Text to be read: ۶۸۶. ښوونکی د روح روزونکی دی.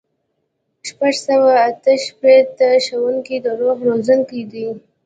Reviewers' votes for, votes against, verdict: 0, 2, rejected